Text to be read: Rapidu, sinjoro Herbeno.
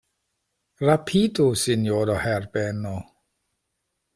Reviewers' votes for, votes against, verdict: 2, 0, accepted